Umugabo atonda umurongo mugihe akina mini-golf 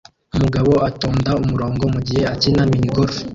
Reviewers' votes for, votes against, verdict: 1, 2, rejected